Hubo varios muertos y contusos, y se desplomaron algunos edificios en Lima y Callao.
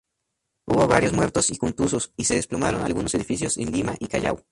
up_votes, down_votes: 4, 0